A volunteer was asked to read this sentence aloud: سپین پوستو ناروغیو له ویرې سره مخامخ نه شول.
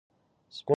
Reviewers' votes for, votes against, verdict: 0, 2, rejected